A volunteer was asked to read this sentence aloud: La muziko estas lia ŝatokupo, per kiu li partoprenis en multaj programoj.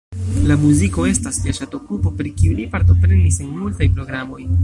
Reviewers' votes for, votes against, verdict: 2, 0, accepted